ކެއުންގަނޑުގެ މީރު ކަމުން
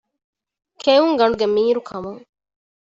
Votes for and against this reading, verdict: 2, 0, accepted